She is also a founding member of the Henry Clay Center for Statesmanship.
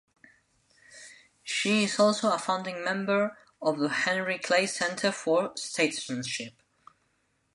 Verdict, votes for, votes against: accepted, 2, 0